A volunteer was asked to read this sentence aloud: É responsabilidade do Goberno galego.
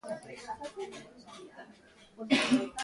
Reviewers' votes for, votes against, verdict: 0, 2, rejected